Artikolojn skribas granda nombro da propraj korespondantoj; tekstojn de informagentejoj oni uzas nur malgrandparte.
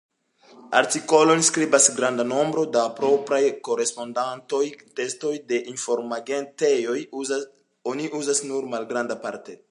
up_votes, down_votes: 1, 2